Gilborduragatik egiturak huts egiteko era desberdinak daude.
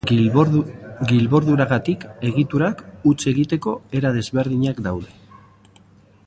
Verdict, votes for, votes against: rejected, 0, 2